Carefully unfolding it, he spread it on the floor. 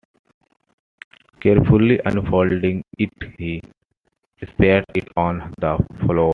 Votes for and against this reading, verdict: 0, 2, rejected